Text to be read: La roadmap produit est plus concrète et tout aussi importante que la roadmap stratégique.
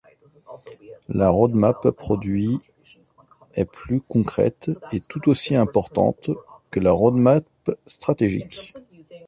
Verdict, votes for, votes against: accepted, 2, 0